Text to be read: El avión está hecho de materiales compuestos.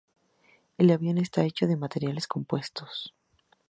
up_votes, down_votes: 2, 0